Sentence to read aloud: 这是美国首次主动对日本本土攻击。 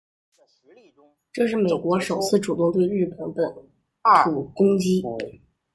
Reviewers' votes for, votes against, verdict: 1, 2, rejected